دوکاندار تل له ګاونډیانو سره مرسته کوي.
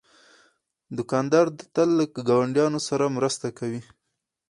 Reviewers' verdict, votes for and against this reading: rejected, 2, 2